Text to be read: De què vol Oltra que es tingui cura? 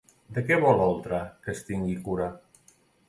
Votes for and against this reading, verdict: 2, 0, accepted